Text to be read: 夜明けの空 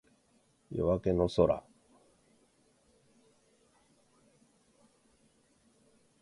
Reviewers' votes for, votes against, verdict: 2, 0, accepted